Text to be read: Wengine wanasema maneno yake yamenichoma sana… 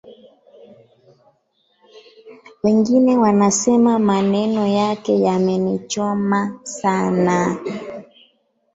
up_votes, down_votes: 2, 1